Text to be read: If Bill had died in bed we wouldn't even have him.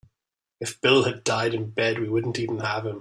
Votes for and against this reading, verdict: 2, 0, accepted